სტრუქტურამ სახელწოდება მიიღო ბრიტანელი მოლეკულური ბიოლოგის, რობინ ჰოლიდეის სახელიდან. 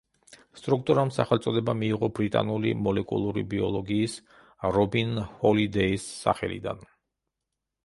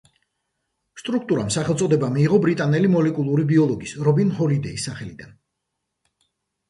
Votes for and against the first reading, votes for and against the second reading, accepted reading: 0, 2, 2, 0, second